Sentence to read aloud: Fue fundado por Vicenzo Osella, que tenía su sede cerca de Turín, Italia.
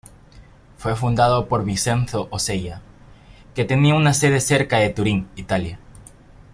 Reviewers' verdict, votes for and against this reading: rejected, 1, 2